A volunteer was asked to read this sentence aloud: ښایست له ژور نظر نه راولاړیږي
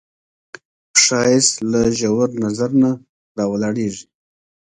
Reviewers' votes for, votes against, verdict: 1, 2, rejected